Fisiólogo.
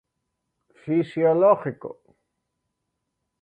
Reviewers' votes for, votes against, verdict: 0, 2, rejected